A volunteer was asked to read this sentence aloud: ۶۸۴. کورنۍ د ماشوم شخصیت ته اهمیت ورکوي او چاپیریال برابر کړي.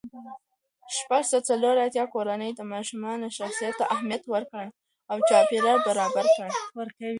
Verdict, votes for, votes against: rejected, 0, 2